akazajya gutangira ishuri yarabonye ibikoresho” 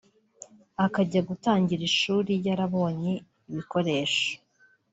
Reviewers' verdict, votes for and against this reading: rejected, 1, 2